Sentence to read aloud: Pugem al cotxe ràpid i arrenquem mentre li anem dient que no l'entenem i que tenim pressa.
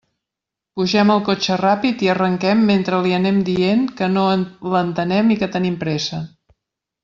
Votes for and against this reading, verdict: 1, 2, rejected